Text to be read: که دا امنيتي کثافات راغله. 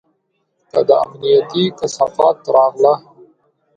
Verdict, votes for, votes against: accepted, 3, 1